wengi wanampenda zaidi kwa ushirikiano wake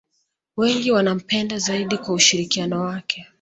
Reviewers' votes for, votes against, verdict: 2, 1, accepted